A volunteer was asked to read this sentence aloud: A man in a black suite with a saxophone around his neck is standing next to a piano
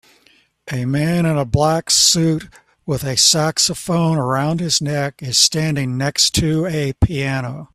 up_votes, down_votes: 2, 0